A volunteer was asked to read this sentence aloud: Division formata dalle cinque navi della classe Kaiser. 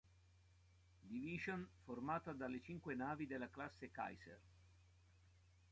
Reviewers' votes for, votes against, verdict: 2, 0, accepted